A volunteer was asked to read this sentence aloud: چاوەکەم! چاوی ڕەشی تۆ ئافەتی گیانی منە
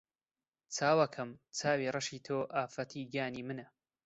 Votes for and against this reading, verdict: 2, 0, accepted